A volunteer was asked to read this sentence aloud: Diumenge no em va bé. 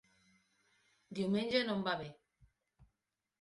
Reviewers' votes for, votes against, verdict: 3, 0, accepted